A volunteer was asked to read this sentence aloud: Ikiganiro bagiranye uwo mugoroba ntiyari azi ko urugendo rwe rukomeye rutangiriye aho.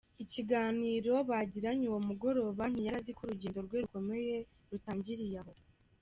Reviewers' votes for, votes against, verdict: 2, 0, accepted